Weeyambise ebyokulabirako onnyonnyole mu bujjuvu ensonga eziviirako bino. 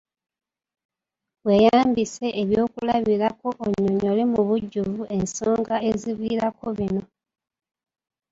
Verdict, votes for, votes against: accepted, 2, 1